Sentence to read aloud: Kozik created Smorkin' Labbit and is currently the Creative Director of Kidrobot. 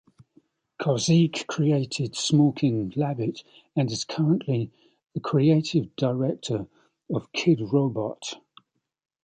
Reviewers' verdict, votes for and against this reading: accepted, 2, 0